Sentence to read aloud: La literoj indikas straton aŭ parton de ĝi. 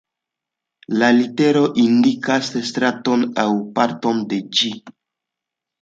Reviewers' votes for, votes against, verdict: 2, 0, accepted